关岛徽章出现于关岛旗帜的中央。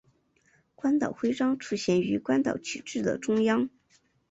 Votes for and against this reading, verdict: 2, 0, accepted